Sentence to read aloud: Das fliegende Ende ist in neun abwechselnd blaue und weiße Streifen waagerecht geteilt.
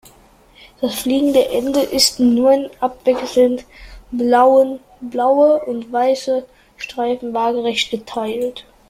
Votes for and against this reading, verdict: 0, 2, rejected